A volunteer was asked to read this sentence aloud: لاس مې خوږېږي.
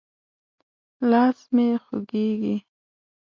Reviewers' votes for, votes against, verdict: 2, 0, accepted